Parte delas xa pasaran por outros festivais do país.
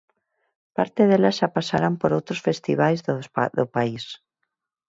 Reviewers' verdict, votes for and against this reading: rejected, 0, 4